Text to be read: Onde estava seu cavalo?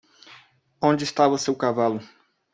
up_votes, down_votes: 1, 2